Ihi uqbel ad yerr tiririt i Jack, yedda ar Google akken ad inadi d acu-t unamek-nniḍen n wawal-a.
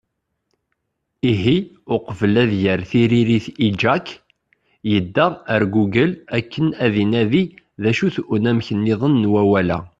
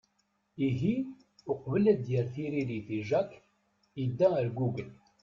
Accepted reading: first